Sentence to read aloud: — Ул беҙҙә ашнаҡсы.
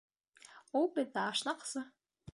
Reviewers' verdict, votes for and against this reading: accepted, 2, 0